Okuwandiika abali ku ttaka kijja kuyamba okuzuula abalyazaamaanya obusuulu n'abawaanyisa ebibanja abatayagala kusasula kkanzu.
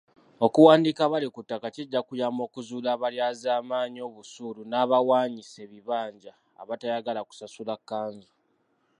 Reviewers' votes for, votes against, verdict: 0, 2, rejected